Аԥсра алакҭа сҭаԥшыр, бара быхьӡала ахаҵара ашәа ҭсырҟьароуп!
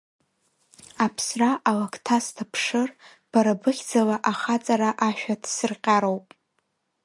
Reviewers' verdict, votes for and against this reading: rejected, 1, 2